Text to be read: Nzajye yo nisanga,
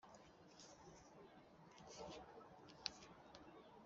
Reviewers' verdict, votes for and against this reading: rejected, 0, 2